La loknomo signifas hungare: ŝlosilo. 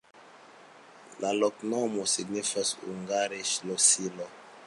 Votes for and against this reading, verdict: 2, 0, accepted